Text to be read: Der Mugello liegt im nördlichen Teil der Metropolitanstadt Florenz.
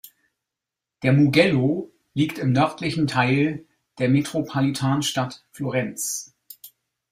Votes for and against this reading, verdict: 0, 2, rejected